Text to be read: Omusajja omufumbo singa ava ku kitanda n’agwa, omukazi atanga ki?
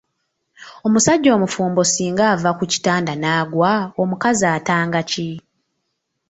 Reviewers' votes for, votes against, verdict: 2, 0, accepted